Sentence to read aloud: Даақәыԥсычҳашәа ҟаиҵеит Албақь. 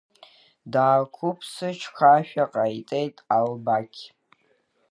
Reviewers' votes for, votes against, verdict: 1, 2, rejected